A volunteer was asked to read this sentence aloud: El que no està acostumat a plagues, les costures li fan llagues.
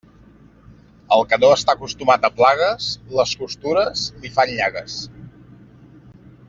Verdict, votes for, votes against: accepted, 2, 0